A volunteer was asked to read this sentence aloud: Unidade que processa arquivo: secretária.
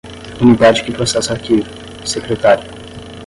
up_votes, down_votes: 5, 0